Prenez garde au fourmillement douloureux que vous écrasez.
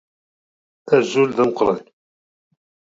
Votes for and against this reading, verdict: 0, 2, rejected